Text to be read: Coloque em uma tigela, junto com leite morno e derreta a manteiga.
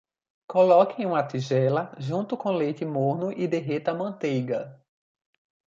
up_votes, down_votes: 3, 0